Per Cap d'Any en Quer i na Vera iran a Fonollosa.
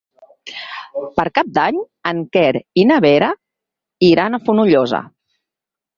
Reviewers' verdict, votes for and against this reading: accepted, 6, 0